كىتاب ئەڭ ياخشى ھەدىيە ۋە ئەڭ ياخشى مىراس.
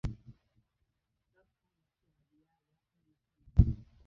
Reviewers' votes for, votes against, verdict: 0, 2, rejected